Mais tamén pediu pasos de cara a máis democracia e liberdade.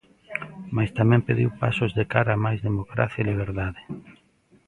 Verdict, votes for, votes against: accepted, 2, 0